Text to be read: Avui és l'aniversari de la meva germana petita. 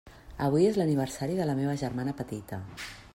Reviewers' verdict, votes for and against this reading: accepted, 3, 0